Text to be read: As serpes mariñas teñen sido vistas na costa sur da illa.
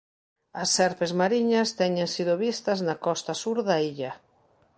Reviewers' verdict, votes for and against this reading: accepted, 2, 0